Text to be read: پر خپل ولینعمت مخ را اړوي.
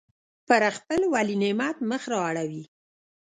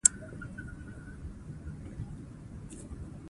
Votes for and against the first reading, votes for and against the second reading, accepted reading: 1, 2, 2, 0, second